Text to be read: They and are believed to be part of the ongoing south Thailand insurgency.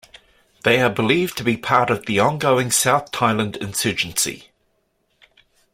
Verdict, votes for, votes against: rejected, 1, 2